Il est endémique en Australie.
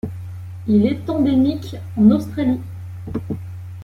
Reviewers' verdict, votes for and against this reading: rejected, 1, 2